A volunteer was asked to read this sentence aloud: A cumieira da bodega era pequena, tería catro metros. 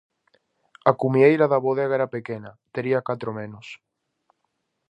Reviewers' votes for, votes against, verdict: 2, 2, rejected